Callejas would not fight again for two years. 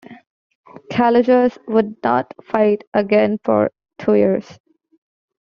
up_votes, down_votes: 2, 0